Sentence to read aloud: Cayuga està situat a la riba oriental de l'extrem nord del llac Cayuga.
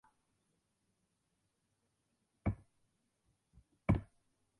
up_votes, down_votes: 0, 2